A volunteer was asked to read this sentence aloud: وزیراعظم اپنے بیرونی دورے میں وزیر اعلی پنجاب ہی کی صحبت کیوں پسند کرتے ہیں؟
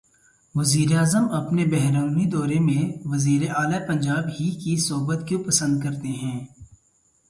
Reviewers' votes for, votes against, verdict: 2, 0, accepted